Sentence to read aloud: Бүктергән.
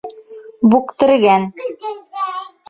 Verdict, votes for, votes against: rejected, 1, 2